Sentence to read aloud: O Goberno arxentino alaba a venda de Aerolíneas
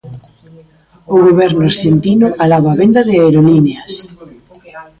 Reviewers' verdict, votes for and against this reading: rejected, 1, 2